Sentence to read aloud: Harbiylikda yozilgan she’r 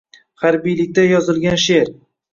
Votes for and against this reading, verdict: 2, 0, accepted